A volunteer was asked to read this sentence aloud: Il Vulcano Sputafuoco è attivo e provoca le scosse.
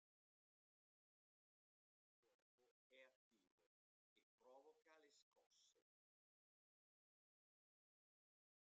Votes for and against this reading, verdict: 0, 2, rejected